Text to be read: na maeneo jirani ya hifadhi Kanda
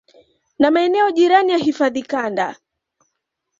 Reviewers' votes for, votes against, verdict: 2, 0, accepted